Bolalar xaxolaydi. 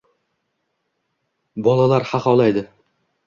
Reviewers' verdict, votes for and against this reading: accepted, 2, 0